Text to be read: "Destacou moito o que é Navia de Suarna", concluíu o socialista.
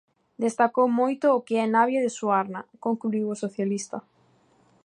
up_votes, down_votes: 2, 0